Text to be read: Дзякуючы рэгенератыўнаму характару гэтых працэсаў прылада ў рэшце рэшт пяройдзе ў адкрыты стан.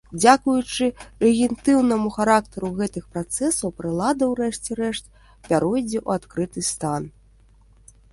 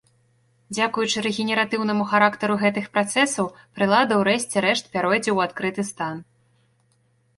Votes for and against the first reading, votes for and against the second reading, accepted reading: 0, 2, 3, 1, second